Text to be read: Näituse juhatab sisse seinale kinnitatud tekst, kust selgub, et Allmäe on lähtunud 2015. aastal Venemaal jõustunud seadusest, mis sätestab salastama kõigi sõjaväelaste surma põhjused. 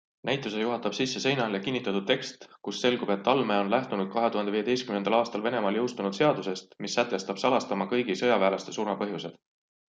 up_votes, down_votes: 0, 2